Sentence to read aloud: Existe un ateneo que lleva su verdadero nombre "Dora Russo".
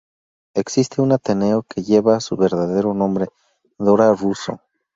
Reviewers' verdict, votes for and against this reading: accepted, 2, 0